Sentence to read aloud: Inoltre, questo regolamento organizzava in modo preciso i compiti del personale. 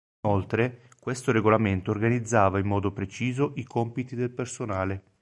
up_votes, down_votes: 2, 3